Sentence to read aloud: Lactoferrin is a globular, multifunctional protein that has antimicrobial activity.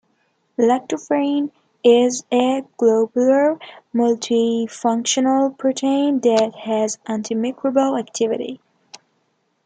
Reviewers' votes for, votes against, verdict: 2, 1, accepted